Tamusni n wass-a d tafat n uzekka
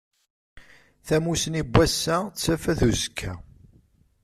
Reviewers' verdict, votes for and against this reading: accepted, 2, 0